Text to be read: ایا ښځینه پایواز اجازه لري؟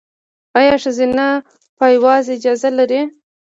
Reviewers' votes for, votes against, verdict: 2, 0, accepted